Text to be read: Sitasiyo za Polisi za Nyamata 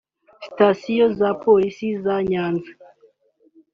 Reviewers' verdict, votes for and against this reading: rejected, 1, 2